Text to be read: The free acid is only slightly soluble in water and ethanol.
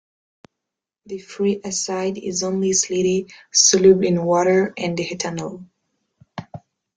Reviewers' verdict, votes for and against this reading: rejected, 0, 2